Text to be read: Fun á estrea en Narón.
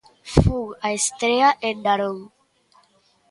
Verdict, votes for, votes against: accepted, 2, 0